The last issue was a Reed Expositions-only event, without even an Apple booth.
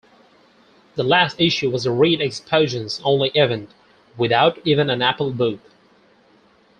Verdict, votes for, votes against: rejected, 2, 4